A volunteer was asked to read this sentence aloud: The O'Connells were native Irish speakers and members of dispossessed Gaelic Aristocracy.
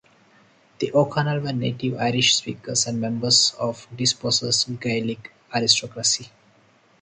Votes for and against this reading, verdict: 0, 2, rejected